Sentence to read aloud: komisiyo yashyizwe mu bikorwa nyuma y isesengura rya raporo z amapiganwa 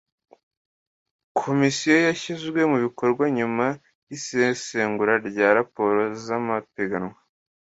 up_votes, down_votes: 2, 0